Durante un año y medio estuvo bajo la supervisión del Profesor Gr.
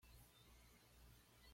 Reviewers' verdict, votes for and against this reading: rejected, 1, 2